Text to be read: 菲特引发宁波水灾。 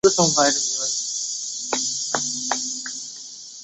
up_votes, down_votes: 0, 2